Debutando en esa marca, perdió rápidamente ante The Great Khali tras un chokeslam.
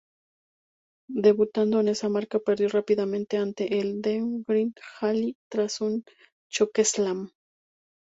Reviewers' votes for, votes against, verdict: 0, 2, rejected